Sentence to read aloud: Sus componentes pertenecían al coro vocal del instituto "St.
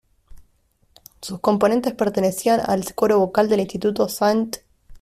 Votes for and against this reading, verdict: 0, 2, rejected